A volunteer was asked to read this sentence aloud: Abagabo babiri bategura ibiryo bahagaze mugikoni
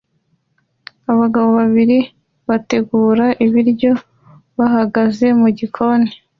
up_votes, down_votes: 2, 0